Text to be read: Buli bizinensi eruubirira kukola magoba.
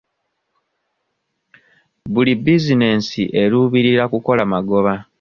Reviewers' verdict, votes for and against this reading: accepted, 2, 0